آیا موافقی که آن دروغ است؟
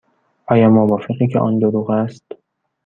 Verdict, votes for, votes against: rejected, 1, 2